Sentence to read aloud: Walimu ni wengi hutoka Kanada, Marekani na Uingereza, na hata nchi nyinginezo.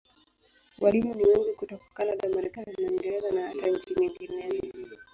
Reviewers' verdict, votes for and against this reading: accepted, 4, 1